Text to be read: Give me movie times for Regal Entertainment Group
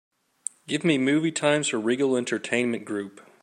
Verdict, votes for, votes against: rejected, 1, 2